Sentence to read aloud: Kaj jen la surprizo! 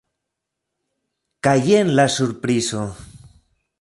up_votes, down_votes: 2, 0